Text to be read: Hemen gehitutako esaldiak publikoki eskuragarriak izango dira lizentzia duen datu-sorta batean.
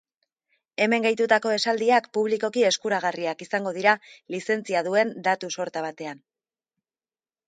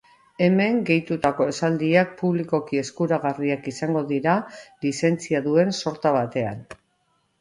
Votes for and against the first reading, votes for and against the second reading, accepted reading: 3, 0, 0, 2, first